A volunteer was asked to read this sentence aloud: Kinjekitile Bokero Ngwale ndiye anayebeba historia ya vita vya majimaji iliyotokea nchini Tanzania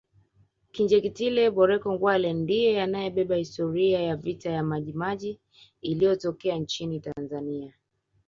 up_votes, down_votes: 2, 0